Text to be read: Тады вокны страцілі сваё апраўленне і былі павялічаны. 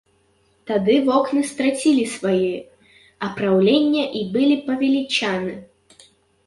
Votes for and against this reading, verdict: 0, 2, rejected